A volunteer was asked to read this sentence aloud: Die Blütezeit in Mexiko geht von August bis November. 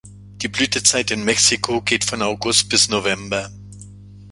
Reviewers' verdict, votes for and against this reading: accepted, 2, 0